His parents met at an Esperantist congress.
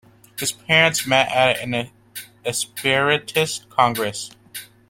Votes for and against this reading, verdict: 1, 2, rejected